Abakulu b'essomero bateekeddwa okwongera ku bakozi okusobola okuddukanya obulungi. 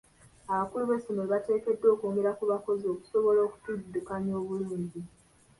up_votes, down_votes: 2, 1